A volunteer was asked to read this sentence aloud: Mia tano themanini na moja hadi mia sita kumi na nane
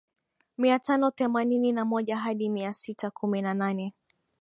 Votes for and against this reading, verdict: 2, 0, accepted